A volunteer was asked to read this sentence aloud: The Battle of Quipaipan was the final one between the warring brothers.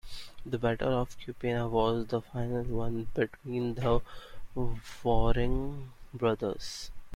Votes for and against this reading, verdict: 0, 2, rejected